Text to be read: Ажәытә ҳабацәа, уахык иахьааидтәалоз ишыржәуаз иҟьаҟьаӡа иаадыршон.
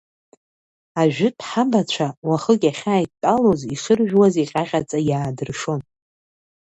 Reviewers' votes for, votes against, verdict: 2, 0, accepted